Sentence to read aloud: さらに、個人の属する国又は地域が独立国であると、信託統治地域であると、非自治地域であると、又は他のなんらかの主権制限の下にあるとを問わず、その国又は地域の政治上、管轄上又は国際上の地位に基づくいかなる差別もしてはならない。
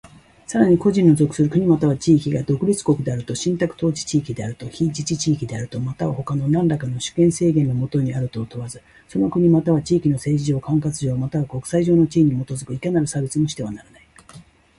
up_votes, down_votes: 2, 1